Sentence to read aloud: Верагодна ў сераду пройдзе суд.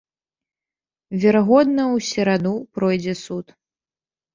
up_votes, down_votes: 2, 0